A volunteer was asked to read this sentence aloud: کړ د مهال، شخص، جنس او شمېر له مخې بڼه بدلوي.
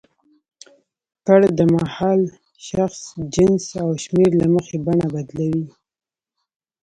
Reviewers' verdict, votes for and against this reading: rejected, 1, 2